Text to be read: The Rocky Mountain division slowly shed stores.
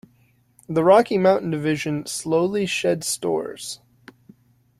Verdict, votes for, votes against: accepted, 2, 0